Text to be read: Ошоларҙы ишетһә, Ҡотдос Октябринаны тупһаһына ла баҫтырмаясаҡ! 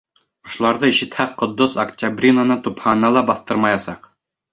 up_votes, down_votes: 2, 0